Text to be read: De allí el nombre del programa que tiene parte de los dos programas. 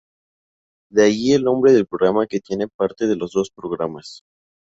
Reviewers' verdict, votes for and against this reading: accepted, 2, 0